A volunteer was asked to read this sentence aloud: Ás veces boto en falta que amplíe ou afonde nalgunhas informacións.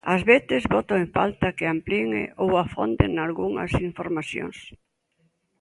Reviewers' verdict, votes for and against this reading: rejected, 1, 2